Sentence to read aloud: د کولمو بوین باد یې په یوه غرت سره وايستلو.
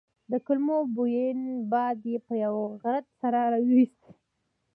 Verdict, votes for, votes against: accepted, 2, 0